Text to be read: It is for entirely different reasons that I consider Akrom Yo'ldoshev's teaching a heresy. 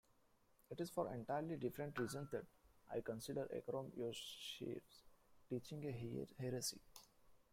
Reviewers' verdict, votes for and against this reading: rejected, 1, 2